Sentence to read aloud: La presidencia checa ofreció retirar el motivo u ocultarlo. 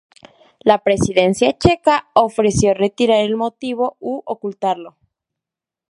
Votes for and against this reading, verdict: 2, 0, accepted